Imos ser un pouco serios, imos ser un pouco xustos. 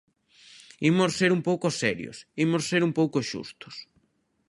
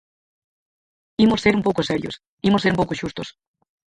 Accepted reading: first